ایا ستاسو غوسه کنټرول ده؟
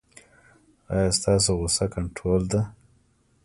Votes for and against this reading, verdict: 2, 0, accepted